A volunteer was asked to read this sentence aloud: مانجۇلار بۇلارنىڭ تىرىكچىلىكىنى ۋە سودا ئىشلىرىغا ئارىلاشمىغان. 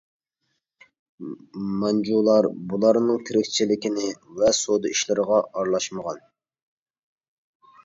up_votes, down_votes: 2, 0